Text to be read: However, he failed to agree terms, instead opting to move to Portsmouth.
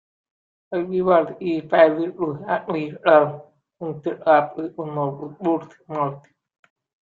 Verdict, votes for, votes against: rejected, 1, 2